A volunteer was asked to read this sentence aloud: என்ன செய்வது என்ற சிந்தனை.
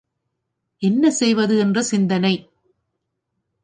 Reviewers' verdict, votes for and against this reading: accepted, 2, 0